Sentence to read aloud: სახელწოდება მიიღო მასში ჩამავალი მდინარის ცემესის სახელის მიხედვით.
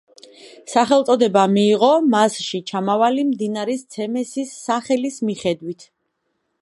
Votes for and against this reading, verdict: 2, 0, accepted